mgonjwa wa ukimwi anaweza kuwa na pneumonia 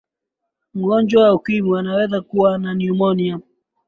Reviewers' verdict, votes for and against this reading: accepted, 5, 2